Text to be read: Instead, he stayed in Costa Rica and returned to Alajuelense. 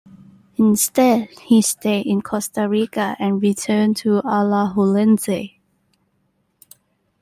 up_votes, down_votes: 0, 2